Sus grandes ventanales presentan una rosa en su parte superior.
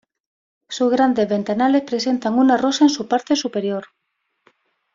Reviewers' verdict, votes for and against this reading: accepted, 2, 1